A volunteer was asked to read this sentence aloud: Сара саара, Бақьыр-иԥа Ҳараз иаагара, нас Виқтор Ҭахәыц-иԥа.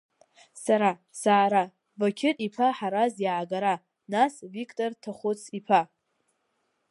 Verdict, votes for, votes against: accepted, 3, 1